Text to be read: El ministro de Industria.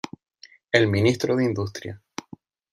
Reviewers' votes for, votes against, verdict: 2, 0, accepted